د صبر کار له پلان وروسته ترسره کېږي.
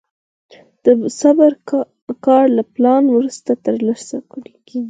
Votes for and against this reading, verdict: 4, 0, accepted